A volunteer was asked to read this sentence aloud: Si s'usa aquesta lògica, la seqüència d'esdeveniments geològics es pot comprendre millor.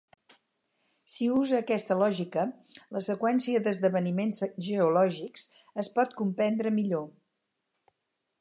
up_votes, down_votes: 2, 4